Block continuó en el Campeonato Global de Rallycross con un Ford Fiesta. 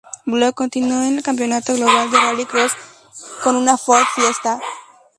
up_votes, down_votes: 2, 0